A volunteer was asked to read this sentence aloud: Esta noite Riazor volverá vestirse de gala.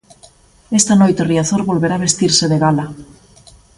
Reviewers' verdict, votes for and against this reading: accepted, 2, 0